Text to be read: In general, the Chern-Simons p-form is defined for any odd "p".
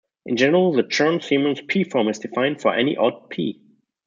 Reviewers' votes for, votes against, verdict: 1, 2, rejected